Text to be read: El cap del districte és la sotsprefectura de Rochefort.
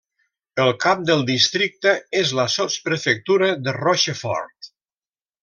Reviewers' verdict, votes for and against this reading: accepted, 3, 0